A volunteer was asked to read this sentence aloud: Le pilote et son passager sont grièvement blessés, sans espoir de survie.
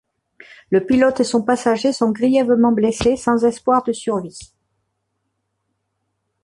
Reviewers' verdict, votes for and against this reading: accepted, 2, 0